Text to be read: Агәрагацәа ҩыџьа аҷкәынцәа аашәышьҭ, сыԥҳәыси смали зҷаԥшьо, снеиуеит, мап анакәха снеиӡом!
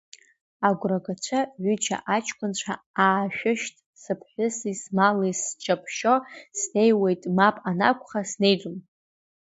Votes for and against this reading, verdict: 2, 1, accepted